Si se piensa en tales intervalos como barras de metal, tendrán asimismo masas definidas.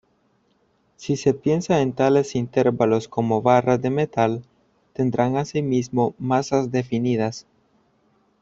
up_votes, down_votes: 0, 2